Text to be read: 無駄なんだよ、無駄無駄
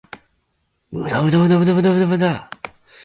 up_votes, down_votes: 0, 2